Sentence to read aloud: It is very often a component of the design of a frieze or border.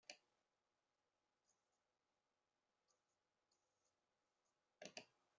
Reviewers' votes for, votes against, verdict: 0, 2, rejected